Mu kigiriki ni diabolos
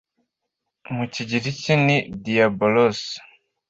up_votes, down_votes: 2, 0